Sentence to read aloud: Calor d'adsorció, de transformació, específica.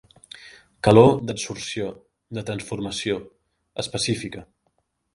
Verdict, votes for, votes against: accepted, 3, 0